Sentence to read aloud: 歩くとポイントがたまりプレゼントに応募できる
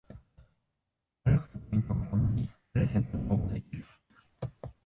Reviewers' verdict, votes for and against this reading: rejected, 3, 8